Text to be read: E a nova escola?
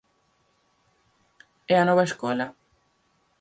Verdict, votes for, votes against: accepted, 4, 0